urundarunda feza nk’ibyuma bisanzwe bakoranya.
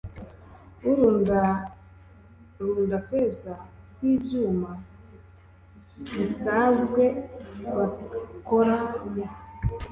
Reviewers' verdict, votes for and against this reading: rejected, 1, 2